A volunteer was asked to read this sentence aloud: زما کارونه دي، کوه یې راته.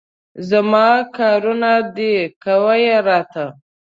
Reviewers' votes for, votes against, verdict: 2, 0, accepted